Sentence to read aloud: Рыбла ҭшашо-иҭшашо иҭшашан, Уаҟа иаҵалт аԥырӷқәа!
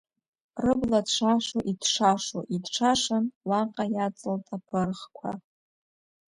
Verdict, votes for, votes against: accepted, 2, 1